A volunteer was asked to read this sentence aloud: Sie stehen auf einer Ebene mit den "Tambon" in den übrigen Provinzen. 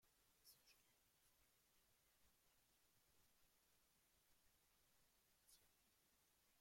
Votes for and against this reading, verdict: 1, 2, rejected